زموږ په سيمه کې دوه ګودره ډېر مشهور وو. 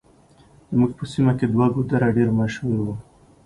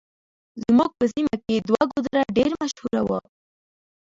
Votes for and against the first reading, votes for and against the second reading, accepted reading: 2, 0, 1, 2, first